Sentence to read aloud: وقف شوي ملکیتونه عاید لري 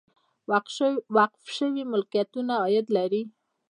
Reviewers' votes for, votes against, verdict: 0, 2, rejected